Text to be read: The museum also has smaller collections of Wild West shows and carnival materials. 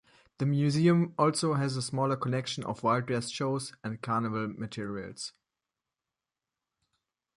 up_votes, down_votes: 1, 2